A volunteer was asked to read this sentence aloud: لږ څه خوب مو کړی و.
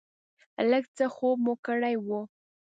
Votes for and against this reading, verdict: 2, 0, accepted